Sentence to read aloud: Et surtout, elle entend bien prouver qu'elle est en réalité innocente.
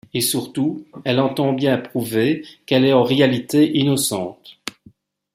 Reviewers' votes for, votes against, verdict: 2, 0, accepted